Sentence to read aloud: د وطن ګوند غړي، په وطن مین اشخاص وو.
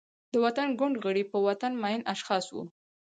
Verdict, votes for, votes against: accepted, 4, 2